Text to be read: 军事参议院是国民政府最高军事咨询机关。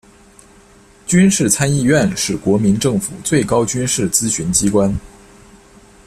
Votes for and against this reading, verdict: 2, 0, accepted